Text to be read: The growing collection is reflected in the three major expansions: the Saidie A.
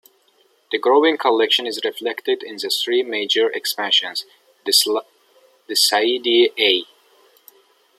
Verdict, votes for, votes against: rejected, 0, 2